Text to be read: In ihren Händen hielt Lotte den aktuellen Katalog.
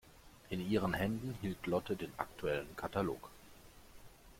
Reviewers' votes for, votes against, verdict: 2, 0, accepted